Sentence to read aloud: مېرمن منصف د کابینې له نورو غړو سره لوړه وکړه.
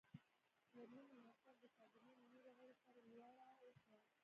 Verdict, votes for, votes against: rejected, 1, 2